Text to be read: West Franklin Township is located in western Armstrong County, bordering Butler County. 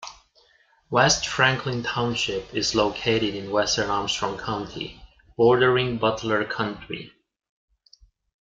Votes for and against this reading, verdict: 0, 2, rejected